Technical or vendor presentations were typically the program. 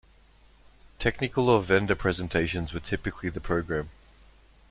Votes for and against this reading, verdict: 1, 2, rejected